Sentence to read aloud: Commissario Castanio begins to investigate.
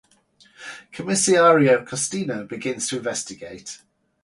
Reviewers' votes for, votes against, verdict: 4, 2, accepted